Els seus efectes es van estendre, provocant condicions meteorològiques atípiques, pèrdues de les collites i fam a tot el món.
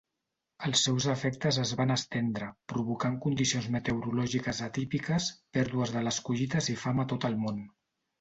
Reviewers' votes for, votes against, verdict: 3, 0, accepted